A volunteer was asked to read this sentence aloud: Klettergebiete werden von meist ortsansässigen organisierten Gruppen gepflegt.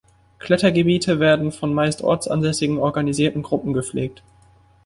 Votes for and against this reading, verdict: 2, 0, accepted